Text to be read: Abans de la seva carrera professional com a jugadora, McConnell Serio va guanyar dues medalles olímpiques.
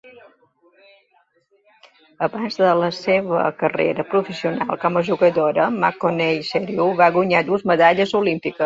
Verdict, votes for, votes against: accepted, 2, 0